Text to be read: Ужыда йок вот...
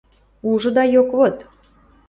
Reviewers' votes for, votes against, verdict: 2, 0, accepted